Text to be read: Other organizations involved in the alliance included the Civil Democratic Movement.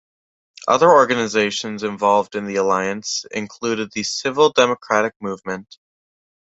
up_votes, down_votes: 2, 1